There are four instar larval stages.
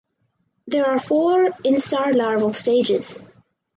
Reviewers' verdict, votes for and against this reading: rejected, 2, 2